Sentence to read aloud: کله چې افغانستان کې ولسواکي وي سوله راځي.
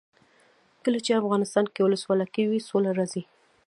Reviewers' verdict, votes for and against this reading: rejected, 1, 2